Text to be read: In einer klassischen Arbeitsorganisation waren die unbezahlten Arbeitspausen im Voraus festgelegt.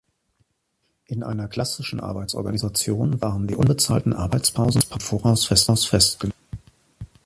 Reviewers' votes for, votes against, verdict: 0, 2, rejected